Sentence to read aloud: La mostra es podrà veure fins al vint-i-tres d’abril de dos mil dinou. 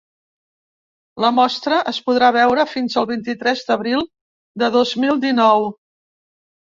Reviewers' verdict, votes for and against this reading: rejected, 0, 2